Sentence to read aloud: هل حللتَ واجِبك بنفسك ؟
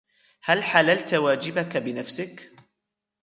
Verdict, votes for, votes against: accepted, 2, 0